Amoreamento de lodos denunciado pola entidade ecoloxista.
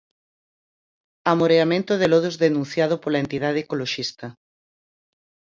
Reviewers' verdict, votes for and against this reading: accepted, 4, 0